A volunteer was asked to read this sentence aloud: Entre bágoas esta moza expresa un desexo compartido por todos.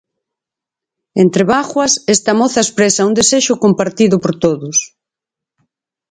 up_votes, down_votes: 4, 0